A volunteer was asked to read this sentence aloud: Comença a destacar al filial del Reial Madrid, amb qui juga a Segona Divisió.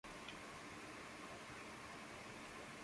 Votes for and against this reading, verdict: 0, 2, rejected